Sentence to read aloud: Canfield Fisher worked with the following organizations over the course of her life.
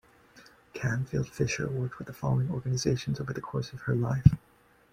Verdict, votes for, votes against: accepted, 2, 1